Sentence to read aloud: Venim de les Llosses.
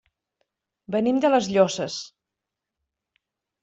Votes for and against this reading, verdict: 2, 0, accepted